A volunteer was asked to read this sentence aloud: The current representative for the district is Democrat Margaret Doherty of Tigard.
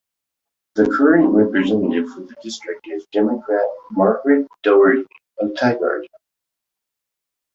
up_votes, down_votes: 2, 0